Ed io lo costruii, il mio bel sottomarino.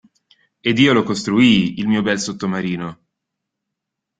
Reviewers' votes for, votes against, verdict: 2, 0, accepted